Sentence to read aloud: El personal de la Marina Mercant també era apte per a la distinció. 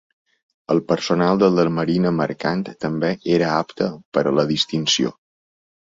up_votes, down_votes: 2, 0